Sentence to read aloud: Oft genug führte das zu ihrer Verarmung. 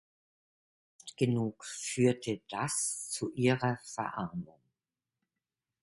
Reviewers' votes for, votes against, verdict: 1, 2, rejected